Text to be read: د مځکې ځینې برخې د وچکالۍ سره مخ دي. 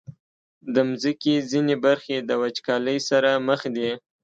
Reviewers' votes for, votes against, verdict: 2, 0, accepted